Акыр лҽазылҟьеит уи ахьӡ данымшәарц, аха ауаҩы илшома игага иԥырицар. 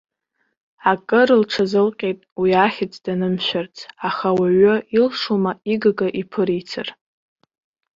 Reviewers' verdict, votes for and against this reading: accepted, 2, 0